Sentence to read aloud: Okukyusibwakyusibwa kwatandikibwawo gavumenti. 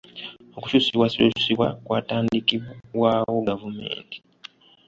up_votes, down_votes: 2, 1